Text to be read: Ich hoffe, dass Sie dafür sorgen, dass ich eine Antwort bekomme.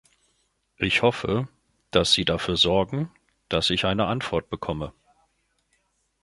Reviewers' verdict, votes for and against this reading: accepted, 2, 0